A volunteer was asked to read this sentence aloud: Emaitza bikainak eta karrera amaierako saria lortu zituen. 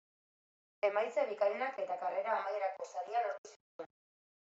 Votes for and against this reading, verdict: 0, 2, rejected